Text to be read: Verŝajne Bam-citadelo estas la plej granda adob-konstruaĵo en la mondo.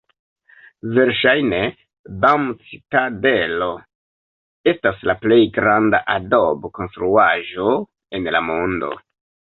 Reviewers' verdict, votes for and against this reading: accepted, 2, 0